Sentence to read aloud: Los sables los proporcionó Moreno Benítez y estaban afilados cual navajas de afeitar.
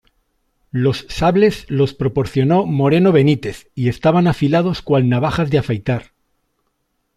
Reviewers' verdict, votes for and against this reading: accepted, 2, 0